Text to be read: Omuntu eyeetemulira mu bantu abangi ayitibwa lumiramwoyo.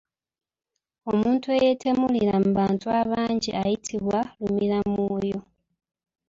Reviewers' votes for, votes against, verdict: 2, 1, accepted